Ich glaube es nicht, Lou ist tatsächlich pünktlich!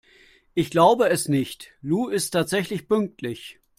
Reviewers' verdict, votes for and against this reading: accepted, 2, 0